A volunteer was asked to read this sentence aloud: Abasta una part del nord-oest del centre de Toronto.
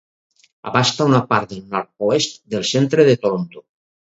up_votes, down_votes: 2, 2